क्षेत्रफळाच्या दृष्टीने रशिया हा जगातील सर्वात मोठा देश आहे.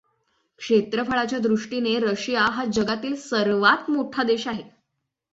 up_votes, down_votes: 6, 0